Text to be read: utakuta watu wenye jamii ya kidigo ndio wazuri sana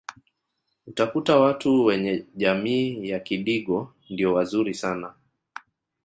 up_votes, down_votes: 1, 2